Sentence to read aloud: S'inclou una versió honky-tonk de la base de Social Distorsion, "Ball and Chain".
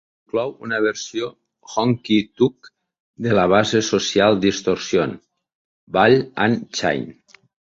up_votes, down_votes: 0, 2